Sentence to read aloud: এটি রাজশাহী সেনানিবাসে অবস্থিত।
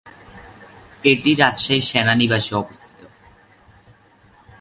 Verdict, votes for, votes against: accepted, 3, 0